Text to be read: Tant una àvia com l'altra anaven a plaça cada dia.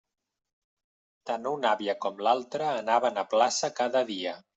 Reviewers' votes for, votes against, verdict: 3, 0, accepted